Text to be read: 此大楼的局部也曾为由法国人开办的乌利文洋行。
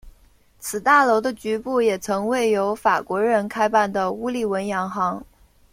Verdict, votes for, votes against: accepted, 2, 0